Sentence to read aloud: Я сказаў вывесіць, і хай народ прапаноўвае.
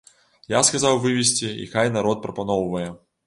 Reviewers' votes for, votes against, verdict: 0, 2, rejected